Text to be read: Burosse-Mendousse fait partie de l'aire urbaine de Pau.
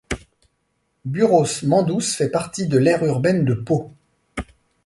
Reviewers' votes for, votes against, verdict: 2, 0, accepted